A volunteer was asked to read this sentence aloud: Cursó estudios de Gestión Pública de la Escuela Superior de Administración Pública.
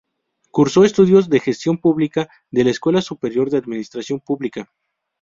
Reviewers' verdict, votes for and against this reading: accepted, 2, 0